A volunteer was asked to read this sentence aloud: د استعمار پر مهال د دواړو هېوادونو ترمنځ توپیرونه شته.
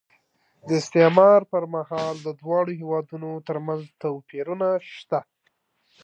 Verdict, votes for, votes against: accepted, 2, 0